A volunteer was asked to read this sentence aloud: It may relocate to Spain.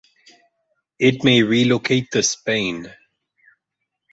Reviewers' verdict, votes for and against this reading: accepted, 4, 0